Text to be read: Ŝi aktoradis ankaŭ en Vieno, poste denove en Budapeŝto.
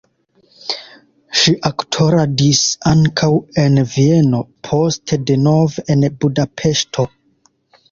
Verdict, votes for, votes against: rejected, 0, 2